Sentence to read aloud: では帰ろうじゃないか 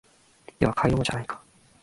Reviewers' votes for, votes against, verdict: 1, 2, rejected